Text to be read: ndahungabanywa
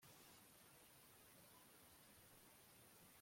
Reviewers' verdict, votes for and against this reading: rejected, 0, 2